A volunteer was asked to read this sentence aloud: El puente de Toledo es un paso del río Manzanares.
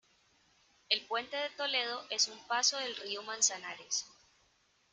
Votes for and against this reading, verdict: 1, 2, rejected